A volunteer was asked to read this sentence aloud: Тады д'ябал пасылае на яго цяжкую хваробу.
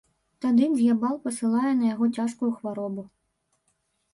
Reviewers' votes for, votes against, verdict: 1, 4, rejected